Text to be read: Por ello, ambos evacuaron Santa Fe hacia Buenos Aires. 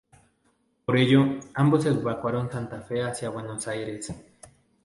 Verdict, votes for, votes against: accepted, 2, 0